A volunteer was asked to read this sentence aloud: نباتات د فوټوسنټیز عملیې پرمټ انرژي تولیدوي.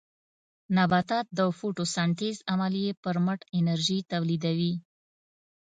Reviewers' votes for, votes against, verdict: 2, 0, accepted